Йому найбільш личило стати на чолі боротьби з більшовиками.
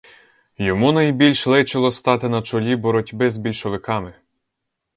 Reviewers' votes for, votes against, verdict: 4, 0, accepted